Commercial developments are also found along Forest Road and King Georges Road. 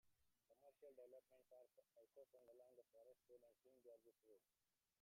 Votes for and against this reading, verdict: 0, 2, rejected